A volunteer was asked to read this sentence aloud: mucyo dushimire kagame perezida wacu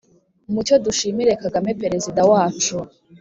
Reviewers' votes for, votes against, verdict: 2, 0, accepted